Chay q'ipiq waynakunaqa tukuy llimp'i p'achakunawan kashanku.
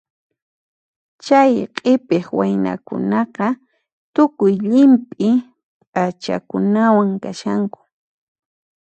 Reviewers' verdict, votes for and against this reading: accepted, 2, 0